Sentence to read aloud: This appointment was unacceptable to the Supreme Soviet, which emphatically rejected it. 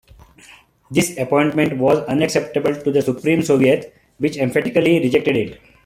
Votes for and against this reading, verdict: 2, 1, accepted